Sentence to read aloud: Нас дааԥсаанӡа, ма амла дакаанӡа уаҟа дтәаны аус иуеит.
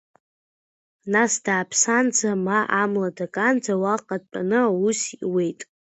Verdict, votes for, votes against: accepted, 2, 0